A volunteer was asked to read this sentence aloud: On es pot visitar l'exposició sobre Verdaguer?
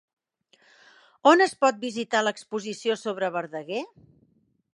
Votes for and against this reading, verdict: 3, 0, accepted